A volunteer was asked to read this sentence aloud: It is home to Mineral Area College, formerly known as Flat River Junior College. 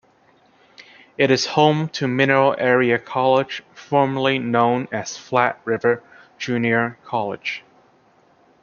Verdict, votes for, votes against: accepted, 2, 0